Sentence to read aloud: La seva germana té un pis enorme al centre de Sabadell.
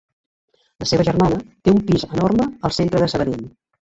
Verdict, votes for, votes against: rejected, 0, 2